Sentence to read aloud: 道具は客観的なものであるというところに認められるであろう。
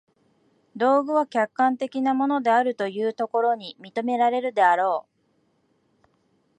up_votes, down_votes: 2, 0